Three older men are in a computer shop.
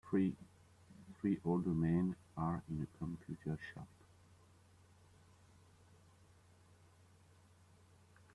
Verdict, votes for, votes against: rejected, 0, 2